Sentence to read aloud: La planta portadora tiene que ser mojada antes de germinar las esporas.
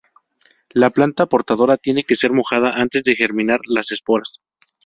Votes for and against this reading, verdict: 2, 0, accepted